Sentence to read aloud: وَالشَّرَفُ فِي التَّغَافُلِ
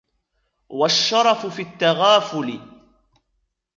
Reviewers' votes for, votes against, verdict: 2, 0, accepted